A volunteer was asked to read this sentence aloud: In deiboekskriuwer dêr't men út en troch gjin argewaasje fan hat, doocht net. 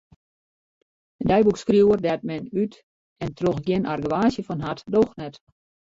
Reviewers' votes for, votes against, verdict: 0, 2, rejected